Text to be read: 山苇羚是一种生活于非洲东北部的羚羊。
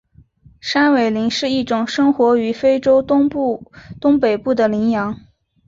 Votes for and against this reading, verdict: 3, 0, accepted